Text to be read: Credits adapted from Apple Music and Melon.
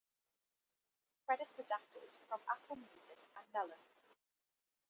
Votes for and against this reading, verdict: 2, 0, accepted